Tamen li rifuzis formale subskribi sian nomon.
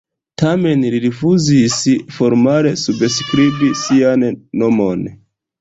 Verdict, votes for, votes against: accepted, 3, 0